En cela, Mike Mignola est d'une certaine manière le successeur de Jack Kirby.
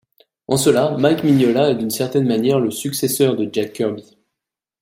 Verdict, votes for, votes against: rejected, 1, 2